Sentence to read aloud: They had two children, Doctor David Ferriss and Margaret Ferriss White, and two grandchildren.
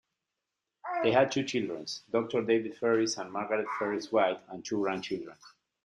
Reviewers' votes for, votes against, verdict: 1, 2, rejected